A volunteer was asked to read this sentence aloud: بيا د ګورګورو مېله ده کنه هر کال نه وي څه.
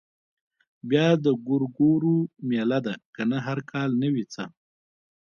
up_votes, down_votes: 2, 0